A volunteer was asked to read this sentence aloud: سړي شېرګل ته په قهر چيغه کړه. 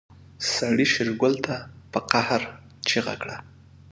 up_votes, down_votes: 2, 0